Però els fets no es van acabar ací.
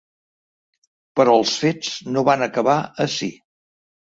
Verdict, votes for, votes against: rejected, 1, 2